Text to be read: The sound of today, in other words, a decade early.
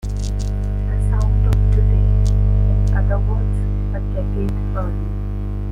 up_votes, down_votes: 2, 0